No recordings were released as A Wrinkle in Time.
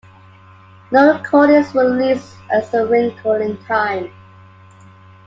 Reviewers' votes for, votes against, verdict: 2, 0, accepted